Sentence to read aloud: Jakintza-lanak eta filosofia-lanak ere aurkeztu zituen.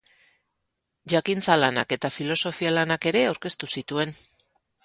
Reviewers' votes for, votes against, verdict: 4, 4, rejected